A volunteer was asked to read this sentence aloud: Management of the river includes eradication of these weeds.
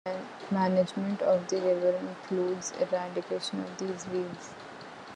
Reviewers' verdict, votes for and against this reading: accepted, 2, 1